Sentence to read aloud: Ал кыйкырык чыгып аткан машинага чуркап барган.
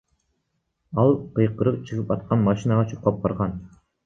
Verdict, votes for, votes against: rejected, 1, 2